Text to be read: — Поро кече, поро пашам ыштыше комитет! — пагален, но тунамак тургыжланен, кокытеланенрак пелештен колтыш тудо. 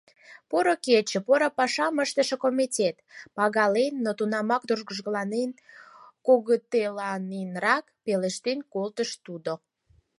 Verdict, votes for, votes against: accepted, 4, 0